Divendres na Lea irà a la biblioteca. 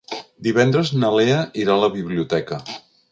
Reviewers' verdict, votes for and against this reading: accepted, 3, 0